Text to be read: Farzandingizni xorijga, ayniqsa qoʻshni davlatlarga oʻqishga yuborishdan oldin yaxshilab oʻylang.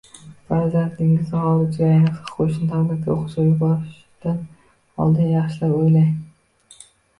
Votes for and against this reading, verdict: 0, 2, rejected